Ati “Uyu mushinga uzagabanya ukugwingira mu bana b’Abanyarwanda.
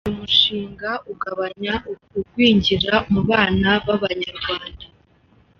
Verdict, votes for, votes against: rejected, 1, 2